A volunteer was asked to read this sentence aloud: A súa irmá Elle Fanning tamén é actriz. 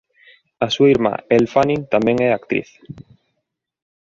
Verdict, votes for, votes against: accepted, 2, 0